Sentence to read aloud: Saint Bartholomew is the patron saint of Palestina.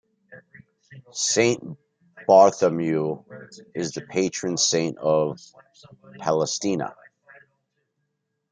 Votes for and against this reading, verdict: 3, 2, accepted